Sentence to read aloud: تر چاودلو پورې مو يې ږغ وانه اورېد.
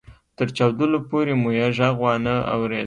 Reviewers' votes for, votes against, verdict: 2, 0, accepted